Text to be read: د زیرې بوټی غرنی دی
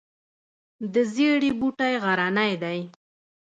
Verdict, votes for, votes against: rejected, 0, 2